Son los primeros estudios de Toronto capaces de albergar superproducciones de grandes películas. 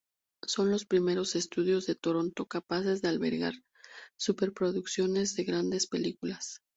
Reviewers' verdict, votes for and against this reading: rejected, 0, 2